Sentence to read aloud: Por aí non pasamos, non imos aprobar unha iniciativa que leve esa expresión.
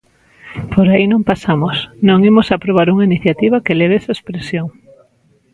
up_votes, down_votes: 0, 2